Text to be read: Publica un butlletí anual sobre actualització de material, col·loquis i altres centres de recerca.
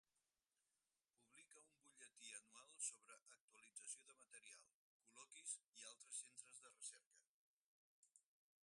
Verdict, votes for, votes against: rejected, 0, 4